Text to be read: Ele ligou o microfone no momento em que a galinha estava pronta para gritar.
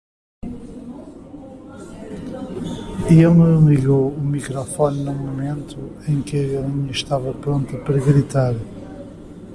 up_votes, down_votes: 1, 2